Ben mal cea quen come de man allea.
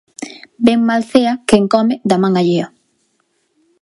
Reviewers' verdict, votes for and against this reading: accepted, 2, 0